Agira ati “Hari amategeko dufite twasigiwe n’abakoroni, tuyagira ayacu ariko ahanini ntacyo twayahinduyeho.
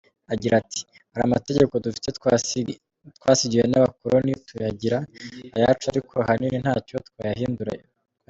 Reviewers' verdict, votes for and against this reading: rejected, 1, 4